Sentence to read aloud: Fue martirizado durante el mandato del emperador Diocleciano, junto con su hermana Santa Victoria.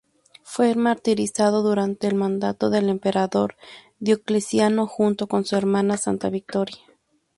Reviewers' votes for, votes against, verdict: 2, 0, accepted